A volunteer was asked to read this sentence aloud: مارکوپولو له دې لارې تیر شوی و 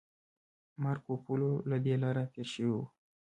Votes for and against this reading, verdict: 1, 2, rejected